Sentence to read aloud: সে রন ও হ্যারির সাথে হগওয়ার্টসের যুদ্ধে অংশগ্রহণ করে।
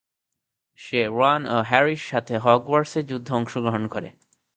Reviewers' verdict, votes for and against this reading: rejected, 0, 2